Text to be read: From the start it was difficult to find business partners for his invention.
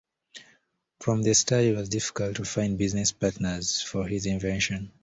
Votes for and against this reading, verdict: 2, 0, accepted